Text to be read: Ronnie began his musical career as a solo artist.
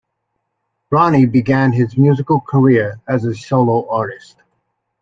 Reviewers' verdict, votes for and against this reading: accepted, 2, 0